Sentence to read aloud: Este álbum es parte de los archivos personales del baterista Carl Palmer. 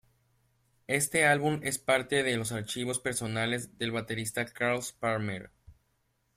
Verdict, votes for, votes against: accepted, 2, 1